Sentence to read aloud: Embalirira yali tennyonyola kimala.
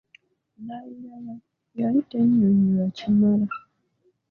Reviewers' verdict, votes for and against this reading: accepted, 3, 2